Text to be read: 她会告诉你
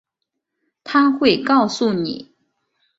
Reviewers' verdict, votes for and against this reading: accepted, 3, 0